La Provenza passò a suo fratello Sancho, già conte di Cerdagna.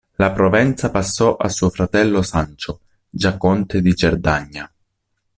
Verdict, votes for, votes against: accepted, 2, 0